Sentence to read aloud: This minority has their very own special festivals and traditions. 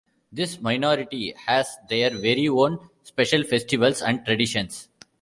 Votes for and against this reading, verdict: 2, 0, accepted